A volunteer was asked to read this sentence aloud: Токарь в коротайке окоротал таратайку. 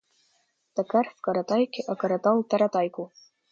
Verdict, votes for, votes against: rejected, 1, 2